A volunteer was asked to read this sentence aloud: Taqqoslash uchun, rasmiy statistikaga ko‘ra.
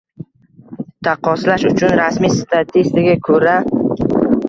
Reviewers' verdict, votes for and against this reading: rejected, 1, 2